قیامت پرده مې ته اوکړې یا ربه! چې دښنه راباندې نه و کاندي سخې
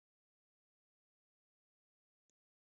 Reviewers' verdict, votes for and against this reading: rejected, 2, 4